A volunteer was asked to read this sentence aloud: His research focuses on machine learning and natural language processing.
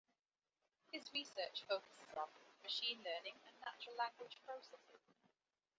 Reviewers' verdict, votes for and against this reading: rejected, 1, 2